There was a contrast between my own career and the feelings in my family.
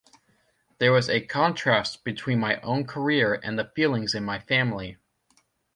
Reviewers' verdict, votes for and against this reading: accepted, 2, 0